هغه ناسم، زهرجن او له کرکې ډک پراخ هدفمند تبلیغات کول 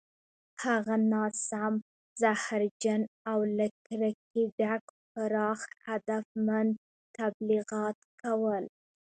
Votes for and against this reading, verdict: 1, 2, rejected